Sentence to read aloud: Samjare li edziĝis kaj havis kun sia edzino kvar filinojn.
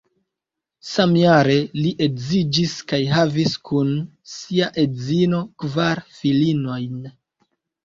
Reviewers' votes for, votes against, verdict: 3, 0, accepted